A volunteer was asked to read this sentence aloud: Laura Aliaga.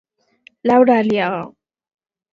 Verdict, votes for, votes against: accepted, 4, 0